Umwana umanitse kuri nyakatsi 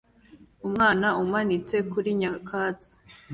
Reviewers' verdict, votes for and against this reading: accepted, 2, 0